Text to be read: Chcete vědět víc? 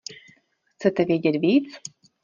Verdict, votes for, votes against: accepted, 2, 0